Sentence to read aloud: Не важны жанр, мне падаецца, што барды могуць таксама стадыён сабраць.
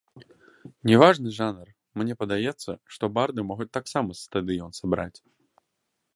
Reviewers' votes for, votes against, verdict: 2, 0, accepted